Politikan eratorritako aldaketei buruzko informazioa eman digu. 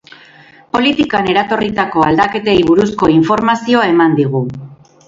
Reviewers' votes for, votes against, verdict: 4, 4, rejected